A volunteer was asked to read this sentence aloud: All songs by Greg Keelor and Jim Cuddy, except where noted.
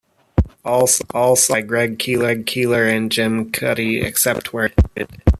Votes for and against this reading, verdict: 0, 2, rejected